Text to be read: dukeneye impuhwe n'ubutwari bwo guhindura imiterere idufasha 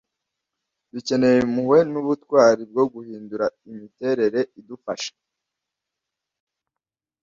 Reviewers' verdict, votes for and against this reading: accepted, 2, 0